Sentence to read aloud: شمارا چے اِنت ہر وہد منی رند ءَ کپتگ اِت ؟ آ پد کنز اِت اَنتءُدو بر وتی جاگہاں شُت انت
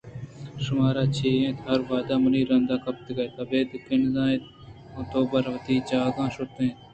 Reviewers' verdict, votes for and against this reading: rejected, 1, 2